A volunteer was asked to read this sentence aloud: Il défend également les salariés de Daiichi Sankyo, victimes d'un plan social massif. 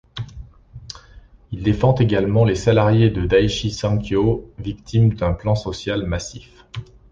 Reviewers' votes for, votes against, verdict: 2, 0, accepted